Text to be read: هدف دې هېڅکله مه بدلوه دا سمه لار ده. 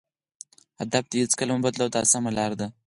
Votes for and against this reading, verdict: 4, 0, accepted